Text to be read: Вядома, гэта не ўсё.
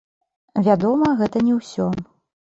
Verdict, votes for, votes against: rejected, 1, 2